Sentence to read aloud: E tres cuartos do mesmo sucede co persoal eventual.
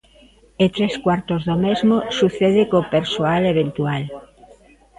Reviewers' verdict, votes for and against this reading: accepted, 2, 1